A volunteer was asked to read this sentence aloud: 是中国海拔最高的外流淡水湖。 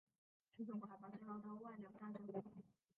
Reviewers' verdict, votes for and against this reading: rejected, 1, 3